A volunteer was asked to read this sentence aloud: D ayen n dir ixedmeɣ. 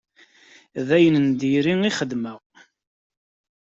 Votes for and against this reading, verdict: 2, 0, accepted